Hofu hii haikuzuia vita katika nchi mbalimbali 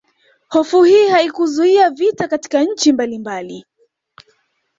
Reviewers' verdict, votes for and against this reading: accepted, 2, 0